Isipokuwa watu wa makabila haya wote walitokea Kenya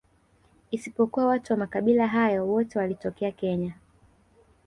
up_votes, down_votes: 2, 1